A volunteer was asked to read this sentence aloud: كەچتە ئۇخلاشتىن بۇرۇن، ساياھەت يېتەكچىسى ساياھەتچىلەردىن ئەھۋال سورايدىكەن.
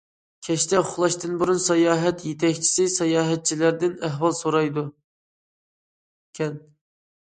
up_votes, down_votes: 0, 2